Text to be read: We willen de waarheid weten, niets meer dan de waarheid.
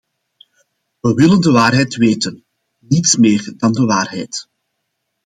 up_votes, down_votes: 2, 0